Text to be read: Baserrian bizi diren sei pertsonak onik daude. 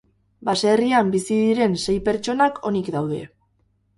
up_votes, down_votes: 0, 2